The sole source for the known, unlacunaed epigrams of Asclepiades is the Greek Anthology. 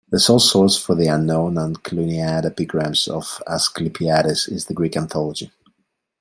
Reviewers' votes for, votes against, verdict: 0, 2, rejected